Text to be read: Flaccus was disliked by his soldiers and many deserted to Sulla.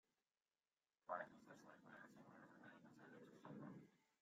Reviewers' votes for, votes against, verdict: 0, 2, rejected